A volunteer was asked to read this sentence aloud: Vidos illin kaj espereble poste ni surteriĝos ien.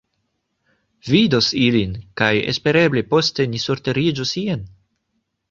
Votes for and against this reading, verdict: 2, 0, accepted